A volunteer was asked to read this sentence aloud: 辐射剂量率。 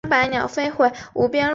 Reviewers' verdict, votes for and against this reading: rejected, 0, 3